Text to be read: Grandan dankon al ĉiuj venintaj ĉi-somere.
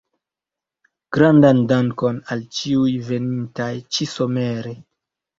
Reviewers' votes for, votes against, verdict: 2, 0, accepted